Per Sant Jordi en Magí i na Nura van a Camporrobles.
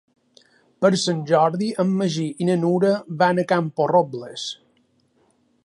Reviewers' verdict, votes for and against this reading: accepted, 3, 0